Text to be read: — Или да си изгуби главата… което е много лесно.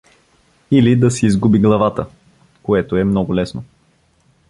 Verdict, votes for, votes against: accepted, 2, 0